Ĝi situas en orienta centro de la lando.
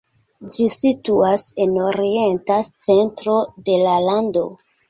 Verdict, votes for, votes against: rejected, 0, 2